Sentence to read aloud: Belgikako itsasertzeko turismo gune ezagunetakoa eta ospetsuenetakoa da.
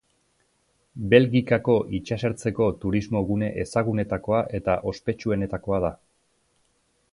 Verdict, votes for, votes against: accepted, 2, 0